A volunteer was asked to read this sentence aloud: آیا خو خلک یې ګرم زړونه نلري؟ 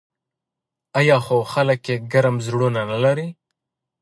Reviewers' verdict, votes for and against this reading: accepted, 2, 0